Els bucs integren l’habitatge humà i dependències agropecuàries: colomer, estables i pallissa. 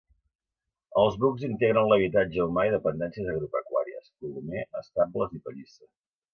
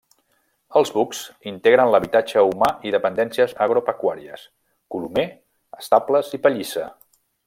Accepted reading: first